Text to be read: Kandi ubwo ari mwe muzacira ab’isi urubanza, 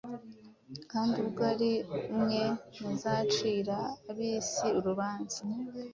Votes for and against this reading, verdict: 2, 0, accepted